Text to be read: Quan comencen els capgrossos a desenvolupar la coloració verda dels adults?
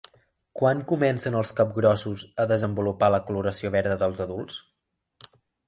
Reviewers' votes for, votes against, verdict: 2, 0, accepted